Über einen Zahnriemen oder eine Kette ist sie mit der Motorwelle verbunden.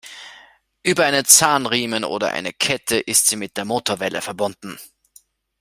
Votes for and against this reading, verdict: 2, 0, accepted